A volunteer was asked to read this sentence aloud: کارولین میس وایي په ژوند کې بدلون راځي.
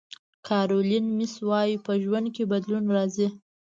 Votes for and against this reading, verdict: 2, 0, accepted